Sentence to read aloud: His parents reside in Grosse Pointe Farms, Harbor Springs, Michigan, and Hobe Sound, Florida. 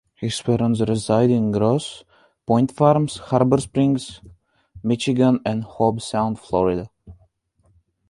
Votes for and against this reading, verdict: 2, 0, accepted